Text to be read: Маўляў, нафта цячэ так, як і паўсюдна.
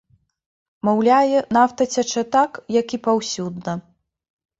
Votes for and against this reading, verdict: 0, 2, rejected